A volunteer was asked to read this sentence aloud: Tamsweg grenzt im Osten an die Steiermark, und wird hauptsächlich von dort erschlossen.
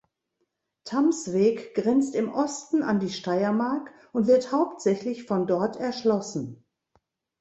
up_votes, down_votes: 2, 0